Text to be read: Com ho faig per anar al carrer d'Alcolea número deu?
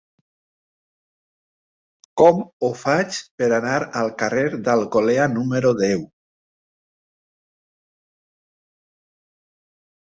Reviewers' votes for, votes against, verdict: 3, 0, accepted